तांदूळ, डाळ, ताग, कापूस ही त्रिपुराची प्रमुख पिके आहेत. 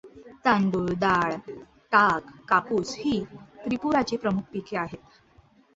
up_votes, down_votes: 2, 0